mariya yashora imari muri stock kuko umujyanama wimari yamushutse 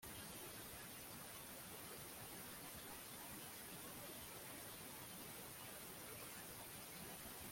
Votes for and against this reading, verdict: 0, 3, rejected